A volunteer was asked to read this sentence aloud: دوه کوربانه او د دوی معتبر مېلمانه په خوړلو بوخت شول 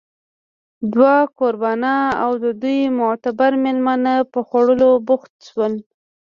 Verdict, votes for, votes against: rejected, 1, 2